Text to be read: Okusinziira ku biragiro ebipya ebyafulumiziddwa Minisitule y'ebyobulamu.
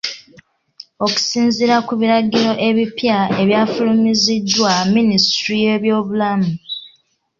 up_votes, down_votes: 2, 0